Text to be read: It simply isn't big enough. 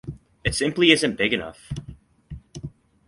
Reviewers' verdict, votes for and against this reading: accepted, 4, 0